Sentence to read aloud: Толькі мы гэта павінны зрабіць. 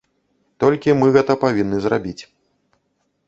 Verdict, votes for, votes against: accepted, 2, 0